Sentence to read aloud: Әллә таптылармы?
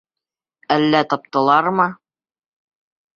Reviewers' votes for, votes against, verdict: 2, 0, accepted